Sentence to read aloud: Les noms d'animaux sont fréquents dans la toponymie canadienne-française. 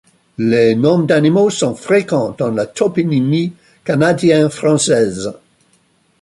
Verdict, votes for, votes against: rejected, 1, 2